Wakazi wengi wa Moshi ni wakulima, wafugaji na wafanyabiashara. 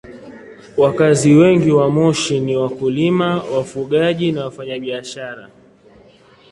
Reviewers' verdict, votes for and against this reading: accepted, 2, 0